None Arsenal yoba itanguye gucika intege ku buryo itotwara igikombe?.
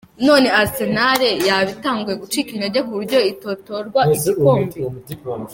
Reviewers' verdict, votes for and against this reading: rejected, 1, 2